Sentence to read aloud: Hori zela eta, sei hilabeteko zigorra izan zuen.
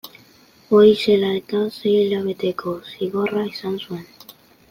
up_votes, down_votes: 3, 2